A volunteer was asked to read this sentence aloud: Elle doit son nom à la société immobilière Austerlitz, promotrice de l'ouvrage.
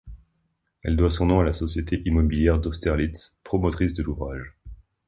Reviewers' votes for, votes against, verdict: 1, 2, rejected